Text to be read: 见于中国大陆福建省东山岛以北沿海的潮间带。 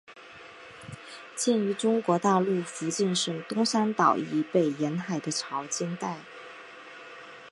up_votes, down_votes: 3, 0